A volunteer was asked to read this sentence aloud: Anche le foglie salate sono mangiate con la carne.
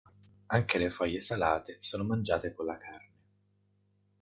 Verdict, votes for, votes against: accepted, 2, 1